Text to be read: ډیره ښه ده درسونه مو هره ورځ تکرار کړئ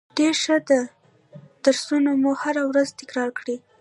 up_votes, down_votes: 2, 1